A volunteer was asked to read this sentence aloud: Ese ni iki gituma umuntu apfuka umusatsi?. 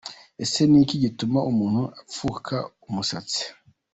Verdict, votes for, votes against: accepted, 2, 0